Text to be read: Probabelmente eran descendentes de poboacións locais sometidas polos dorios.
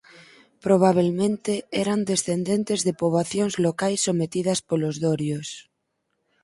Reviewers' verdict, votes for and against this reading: accepted, 4, 0